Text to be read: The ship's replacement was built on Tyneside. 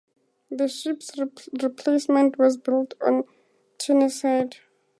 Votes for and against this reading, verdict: 0, 2, rejected